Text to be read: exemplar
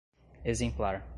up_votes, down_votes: 2, 0